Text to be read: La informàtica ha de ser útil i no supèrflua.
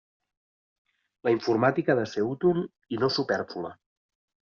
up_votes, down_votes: 0, 2